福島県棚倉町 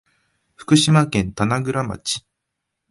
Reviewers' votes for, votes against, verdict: 2, 0, accepted